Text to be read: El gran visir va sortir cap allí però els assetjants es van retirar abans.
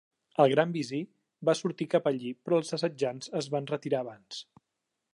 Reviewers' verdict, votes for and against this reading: accepted, 2, 0